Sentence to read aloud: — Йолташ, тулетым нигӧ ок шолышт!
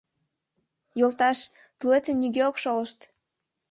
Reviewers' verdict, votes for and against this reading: accepted, 2, 0